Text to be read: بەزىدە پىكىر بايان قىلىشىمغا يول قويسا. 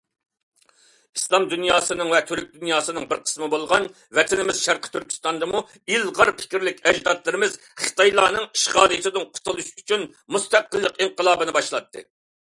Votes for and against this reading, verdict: 0, 2, rejected